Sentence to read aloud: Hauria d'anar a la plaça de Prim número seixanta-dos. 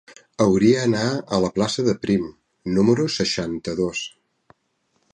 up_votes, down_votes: 0, 2